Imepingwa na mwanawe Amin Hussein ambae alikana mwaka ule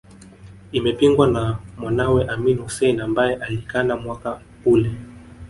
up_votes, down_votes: 0, 2